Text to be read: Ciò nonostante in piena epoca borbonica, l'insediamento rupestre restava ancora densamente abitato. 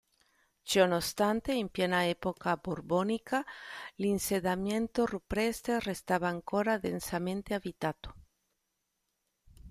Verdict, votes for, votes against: rejected, 0, 2